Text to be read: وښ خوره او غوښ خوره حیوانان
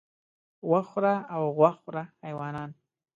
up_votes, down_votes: 2, 0